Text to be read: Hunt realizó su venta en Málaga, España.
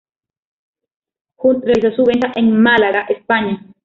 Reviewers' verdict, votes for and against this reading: rejected, 1, 2